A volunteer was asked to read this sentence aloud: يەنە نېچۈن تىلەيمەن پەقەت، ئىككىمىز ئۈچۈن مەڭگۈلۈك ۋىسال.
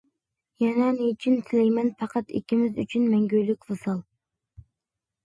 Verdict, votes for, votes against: accepted, 2, 0